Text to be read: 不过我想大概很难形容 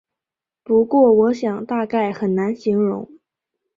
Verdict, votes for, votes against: accepted, 4, 1